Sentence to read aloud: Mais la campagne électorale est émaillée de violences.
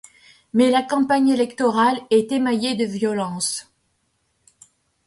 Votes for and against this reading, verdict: 2, 0, accepted